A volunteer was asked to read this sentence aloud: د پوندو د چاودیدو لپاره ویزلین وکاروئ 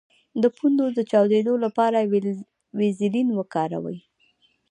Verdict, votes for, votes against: accepted, 2, 0